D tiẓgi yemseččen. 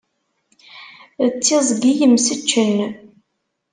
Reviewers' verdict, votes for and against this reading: accepted, 2, 0